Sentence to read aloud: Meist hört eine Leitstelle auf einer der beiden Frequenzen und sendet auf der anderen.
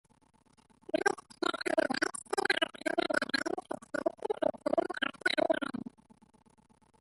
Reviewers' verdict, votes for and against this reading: rejected, 0, 2